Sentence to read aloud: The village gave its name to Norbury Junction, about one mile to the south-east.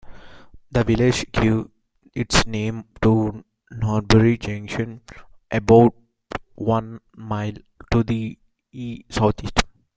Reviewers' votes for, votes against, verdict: 0, 2, rejected